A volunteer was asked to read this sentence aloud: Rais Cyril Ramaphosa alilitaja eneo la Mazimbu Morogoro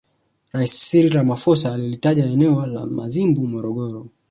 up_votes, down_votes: 1, 2